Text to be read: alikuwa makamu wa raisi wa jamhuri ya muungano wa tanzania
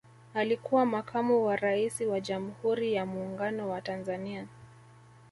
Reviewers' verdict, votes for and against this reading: rejected, 0, 2